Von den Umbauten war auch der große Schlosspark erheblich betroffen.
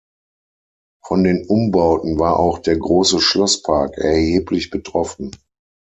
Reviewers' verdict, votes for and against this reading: accepted, 6, 0